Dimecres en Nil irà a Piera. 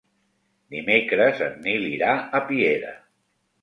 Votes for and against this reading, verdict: 2, 0, accepted